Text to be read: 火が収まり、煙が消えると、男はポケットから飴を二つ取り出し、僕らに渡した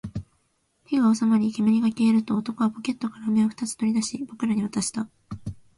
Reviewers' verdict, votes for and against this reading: accepted, 2, 0